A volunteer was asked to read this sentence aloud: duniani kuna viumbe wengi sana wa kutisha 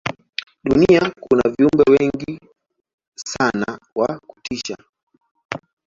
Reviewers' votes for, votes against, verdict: 0, 3, rejected